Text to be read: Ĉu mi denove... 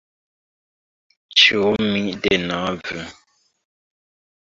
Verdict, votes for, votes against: accepted, 2, 1